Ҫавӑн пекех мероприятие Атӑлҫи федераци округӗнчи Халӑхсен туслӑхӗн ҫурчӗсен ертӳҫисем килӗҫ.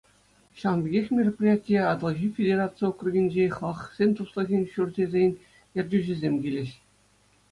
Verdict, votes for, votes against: accepted, 2, 0